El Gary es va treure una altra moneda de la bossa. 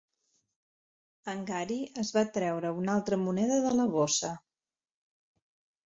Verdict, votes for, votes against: rejected, 0, 2